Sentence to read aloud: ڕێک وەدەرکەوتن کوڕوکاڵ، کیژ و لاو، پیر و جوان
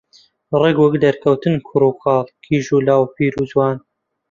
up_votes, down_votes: 0, 2